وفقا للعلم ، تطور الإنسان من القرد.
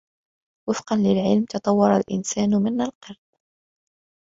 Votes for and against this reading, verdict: 1, 2, rejected